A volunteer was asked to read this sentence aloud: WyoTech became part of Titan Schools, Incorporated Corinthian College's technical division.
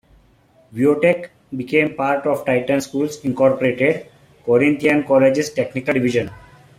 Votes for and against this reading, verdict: 1, 2, rejected